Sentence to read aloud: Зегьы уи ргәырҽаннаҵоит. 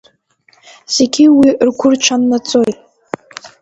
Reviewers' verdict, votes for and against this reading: accepted, 2, 0